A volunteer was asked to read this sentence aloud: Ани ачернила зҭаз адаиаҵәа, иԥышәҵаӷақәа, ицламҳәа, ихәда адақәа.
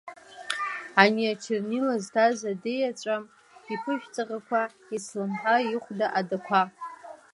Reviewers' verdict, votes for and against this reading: rejected, 1, 2